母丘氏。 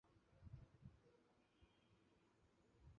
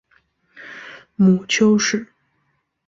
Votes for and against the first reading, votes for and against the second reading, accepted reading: 0, 4, 3, 0, second